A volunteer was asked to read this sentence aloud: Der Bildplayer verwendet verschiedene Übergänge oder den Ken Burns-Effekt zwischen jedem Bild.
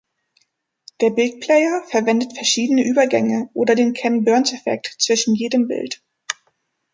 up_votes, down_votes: 3, 0